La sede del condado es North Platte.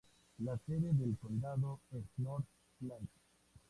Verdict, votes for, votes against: rejected, 0, 2